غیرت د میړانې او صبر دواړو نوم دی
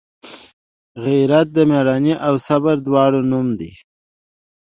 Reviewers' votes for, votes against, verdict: 2, 0, accepted